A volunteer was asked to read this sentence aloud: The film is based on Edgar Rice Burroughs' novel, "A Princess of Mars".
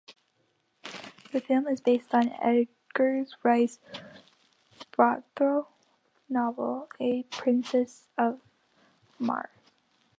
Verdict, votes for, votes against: rejected, 0, 3